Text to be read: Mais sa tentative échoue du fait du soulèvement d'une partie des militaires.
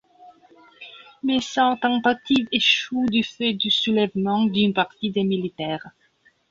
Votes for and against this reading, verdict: 2, 1, accepted